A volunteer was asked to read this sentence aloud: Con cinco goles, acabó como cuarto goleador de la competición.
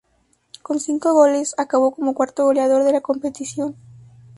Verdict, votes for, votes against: rejected, 0, 4